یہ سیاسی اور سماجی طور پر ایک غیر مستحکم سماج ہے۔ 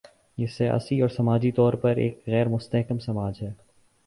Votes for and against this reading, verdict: 8, 0, accepted